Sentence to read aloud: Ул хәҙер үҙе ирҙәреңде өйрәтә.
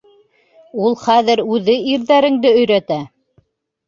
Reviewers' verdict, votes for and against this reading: accepted, 2, 0